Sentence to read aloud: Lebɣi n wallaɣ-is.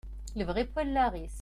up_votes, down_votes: 2, 0